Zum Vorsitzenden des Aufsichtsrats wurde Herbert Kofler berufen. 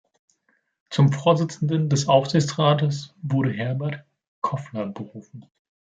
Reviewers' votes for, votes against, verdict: 0, 2, rejected